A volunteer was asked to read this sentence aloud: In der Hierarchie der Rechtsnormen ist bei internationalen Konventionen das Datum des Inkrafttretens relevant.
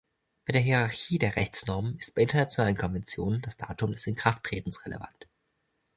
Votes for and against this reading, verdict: 1, 2, rejected